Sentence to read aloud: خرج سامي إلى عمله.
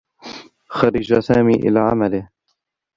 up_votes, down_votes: 0, 2